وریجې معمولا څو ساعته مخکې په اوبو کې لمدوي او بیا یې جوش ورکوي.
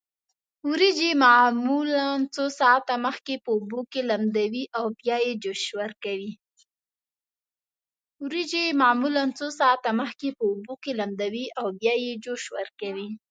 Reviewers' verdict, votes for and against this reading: rejected, 1, 3